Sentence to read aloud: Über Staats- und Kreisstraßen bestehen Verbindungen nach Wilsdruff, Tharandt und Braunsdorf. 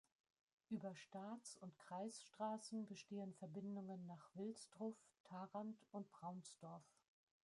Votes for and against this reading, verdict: 0, 2, rejected